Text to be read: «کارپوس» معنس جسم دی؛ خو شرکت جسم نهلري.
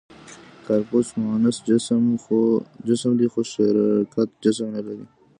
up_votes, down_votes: 1, 2